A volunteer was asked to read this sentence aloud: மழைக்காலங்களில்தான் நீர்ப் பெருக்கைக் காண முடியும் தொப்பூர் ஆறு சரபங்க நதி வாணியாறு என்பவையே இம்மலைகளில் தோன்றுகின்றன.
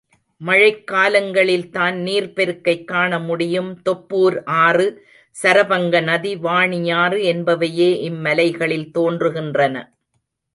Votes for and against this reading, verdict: 2, 0, accepted